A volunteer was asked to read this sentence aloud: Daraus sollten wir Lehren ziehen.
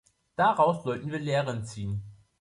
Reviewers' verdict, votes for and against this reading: accepted, 3, 0